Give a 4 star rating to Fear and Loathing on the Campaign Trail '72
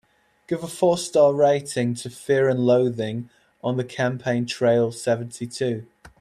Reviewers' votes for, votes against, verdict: 0, 2, rejected